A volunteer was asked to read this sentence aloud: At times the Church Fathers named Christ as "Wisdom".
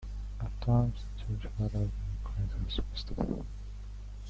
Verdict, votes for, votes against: rejected, 1, 2